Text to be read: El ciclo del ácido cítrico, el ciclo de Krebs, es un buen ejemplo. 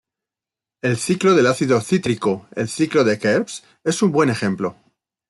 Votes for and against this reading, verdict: 0, 2, rejected